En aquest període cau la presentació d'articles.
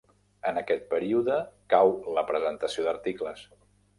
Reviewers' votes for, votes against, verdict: 3, 0, accepted